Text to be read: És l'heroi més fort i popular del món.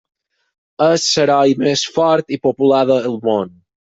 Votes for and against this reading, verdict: 0, 4, rejected